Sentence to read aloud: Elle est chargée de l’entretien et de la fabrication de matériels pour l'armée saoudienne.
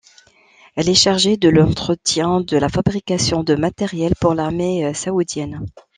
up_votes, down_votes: 0, 2